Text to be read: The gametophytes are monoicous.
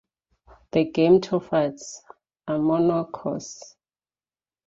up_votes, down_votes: 2, 0